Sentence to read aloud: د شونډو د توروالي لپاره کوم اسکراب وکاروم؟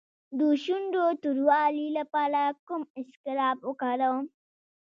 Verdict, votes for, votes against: rejected, 0, 2